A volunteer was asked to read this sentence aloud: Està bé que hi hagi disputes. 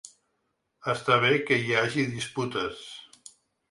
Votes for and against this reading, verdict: 3, 0, accepted